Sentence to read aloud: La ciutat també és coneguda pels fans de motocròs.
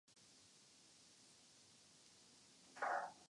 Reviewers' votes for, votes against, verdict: 0, 2, rejected